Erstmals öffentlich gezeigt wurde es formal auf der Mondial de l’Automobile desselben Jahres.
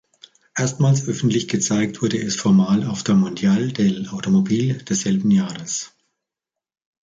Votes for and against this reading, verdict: 1, 2, rejected